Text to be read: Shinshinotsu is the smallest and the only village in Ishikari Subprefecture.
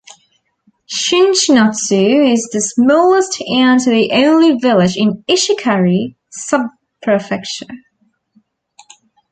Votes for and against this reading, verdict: 1, 2, rejected